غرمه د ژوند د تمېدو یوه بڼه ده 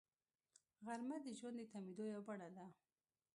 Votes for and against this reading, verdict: 2, 1, accepted